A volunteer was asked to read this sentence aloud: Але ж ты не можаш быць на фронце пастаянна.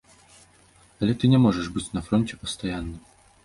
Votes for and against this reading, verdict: 1, 2, rejected